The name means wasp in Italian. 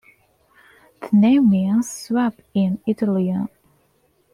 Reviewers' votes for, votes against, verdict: 0, 2, rejected